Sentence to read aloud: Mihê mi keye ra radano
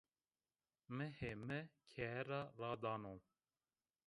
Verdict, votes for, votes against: rejected, 0, 2